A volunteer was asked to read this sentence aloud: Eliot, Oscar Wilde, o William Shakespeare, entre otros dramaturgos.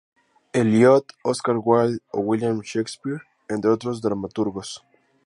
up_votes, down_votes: 4, 0